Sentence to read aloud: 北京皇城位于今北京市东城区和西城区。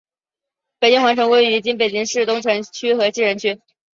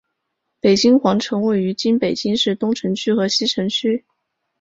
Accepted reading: second